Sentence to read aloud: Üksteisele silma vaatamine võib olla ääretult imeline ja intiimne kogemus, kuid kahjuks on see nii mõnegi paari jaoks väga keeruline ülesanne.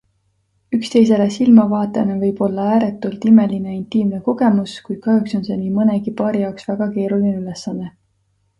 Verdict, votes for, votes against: accepted, 2, 1